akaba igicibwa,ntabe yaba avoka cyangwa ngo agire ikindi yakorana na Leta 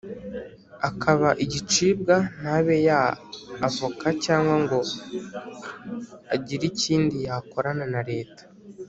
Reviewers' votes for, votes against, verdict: 3, 0, accepted